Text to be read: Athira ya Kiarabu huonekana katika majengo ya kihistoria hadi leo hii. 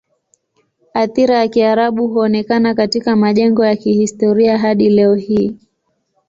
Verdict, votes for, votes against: accepted, 3, 0